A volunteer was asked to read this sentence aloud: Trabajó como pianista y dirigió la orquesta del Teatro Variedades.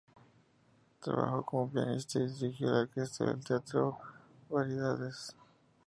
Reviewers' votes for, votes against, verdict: 0, 2, rejected